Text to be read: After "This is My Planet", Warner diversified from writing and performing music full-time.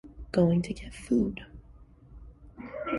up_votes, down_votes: 0, 2